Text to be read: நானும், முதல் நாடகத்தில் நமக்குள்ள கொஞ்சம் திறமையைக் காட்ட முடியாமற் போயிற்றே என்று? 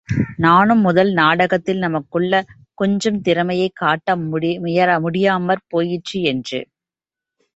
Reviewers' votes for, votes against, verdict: 1, 2, rejected